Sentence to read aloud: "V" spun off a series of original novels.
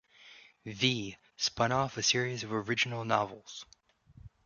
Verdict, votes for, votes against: rejected, 1, 2